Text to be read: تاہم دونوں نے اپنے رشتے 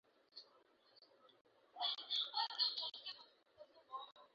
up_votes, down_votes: 0, 2